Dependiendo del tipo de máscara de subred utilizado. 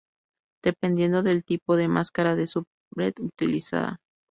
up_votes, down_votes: 0, 2